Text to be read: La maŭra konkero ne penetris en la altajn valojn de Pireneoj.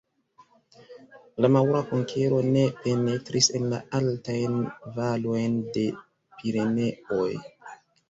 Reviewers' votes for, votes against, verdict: 2, 0, accepted